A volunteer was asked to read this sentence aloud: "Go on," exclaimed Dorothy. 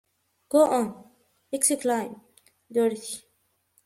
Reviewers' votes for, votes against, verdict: 0, 2, rejected